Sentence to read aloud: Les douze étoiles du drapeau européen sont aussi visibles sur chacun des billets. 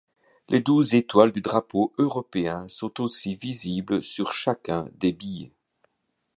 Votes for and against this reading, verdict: 2, 0, accepted